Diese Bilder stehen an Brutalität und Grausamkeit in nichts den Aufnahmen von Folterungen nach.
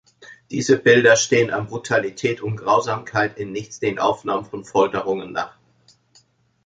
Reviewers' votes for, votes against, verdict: 2, 0, accepted